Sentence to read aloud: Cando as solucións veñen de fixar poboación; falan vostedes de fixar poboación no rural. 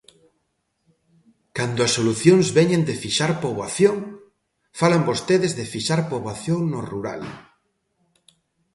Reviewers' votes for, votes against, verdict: 2, 0, accepted